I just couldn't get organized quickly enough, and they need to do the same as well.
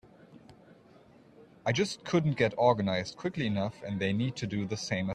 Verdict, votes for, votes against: rejected, 0, 2